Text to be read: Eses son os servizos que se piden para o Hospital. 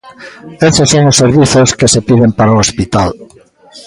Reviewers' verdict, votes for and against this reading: rejected, 0, 2